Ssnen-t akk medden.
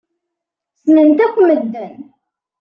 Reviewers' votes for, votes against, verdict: 2, 0, accepted